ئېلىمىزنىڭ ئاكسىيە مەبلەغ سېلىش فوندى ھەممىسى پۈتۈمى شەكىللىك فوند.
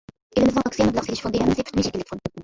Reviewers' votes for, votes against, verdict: 0, 2, rejected